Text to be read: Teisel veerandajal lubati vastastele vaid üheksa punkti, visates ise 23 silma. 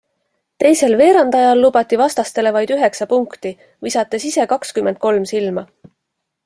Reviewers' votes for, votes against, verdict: 0, 2, rejected